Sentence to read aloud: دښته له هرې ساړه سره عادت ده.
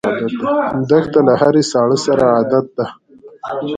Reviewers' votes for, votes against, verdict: 1, 2, rejected